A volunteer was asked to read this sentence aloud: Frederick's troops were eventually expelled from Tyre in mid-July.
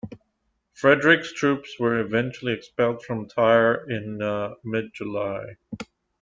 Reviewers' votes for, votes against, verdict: 1, 2, rejected